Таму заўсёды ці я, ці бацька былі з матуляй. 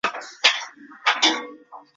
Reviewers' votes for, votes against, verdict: 0, 2, rejected